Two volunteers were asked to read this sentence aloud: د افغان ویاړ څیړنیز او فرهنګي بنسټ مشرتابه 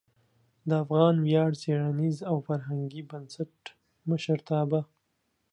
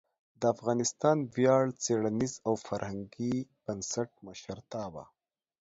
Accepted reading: first